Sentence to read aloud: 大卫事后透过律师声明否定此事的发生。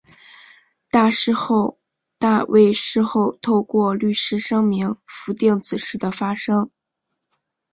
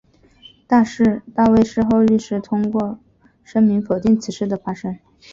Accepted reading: second